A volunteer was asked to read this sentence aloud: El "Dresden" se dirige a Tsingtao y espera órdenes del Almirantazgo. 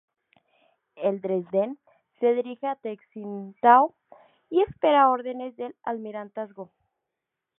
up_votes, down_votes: 0, 2